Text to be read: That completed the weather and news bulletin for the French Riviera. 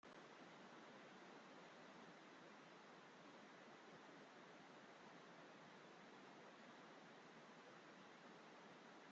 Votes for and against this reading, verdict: 0, 2, rejected